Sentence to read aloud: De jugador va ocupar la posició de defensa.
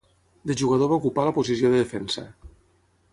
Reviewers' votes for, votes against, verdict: 0, 3, rejected